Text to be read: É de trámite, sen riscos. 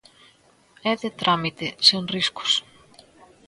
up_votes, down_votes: 2, 0